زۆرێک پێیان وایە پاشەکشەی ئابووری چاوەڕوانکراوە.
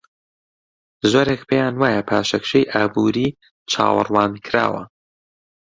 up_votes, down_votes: 2, 0